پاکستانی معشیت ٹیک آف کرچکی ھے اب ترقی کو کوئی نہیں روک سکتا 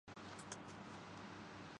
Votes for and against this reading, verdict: 0, 2, rejected